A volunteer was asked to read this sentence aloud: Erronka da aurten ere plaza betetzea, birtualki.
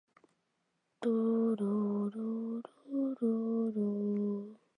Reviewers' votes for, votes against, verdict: 0, 2, rejected